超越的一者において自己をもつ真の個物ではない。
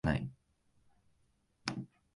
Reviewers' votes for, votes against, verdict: 0, 2, rejected